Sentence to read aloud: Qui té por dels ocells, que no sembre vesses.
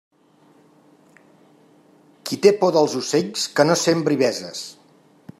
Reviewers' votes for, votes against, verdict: 1, 3, rejected